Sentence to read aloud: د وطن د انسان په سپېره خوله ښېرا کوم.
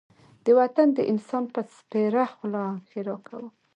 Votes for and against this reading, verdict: 0, 2, rejected